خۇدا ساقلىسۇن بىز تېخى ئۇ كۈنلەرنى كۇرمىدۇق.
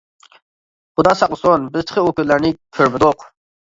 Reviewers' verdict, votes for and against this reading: rejected, 1, 2